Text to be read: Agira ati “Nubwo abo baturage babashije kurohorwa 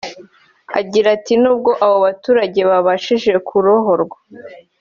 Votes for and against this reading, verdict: 2, 0, accepted